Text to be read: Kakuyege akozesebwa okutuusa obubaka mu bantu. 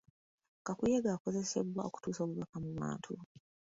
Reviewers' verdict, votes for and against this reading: accepted, 3, 0